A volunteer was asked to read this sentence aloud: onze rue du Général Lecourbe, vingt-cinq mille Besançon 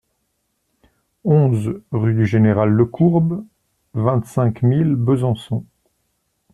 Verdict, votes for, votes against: accepted, 2, 0